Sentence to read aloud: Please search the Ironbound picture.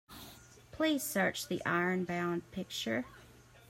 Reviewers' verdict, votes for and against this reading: accepted, 2, 0